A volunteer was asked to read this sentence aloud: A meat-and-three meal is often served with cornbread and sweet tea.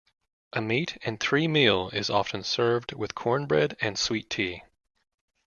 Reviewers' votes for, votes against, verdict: 2, 0, accepted